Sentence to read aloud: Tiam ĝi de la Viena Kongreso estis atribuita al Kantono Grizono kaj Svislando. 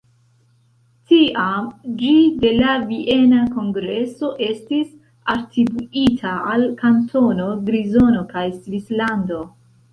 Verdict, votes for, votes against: rejected, 0, 2